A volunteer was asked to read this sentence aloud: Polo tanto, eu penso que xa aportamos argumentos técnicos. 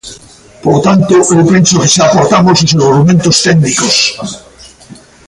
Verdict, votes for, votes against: accepted, 2, 0